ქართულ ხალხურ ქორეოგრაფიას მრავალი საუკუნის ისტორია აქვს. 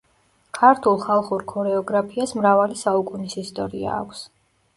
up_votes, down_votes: 2, 0